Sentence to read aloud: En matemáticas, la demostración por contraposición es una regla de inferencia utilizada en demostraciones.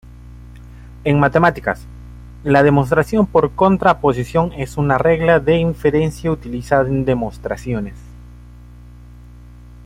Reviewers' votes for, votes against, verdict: 1, 2, rejected